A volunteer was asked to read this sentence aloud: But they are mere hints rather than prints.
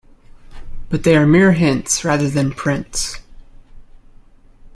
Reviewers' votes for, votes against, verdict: 2, 0, accepted